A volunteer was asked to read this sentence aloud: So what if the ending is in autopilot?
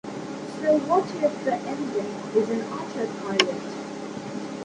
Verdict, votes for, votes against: rejected, 1, 2